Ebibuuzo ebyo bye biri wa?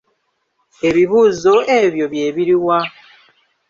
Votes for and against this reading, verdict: 2, 0, accepted